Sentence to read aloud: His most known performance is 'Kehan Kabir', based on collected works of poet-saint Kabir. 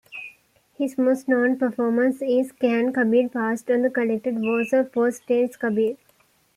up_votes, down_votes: 1, 2